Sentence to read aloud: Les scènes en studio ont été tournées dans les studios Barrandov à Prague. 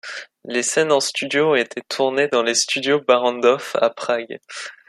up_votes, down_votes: 2, 0